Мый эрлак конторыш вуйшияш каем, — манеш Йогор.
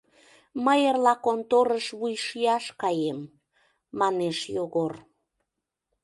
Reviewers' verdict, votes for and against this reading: rejected, 0, 2